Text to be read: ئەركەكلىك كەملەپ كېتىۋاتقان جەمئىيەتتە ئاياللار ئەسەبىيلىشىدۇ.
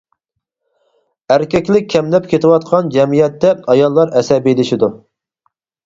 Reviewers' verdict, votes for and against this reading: accepted, 4, 2